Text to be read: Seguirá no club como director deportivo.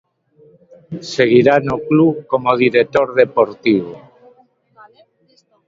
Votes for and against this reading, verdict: 2, 0, accepted